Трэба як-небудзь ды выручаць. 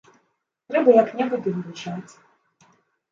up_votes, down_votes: 1, 2